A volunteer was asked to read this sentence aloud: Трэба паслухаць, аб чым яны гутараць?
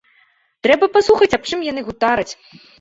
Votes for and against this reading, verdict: 1, 2, rejected